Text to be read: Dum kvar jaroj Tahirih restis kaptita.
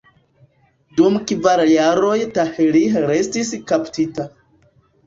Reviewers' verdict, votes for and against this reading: rejected, 0, 2